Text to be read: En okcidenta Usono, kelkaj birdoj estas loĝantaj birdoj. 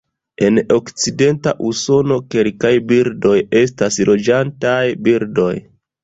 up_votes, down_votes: 2, 1